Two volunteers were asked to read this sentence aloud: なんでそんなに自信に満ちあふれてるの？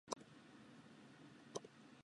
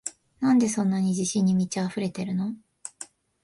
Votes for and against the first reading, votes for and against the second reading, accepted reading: 0, 2, 2, 0, second